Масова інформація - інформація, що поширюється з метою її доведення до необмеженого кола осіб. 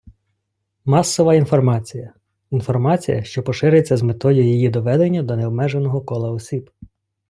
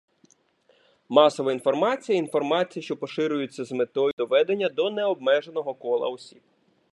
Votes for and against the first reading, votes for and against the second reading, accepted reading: 2, 1, 0, 2, first